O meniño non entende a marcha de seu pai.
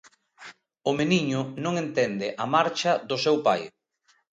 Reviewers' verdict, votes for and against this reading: rejected, 0, 2